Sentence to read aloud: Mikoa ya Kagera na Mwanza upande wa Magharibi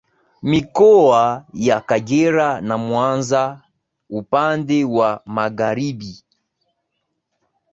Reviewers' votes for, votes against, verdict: 2, 1, accepted